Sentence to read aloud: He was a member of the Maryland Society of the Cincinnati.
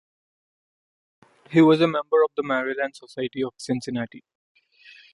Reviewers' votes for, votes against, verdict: 2, 0, accepted